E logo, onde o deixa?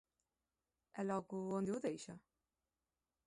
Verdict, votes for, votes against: accepted, 2, 0